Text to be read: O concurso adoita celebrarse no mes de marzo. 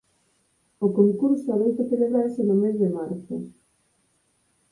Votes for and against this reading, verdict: 4, 2, accepted